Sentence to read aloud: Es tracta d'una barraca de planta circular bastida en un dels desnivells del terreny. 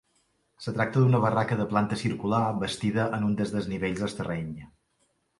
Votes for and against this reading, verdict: 1, 2, rejected